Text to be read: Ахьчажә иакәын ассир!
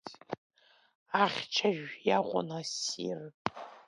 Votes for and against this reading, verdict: 0, 2, rejected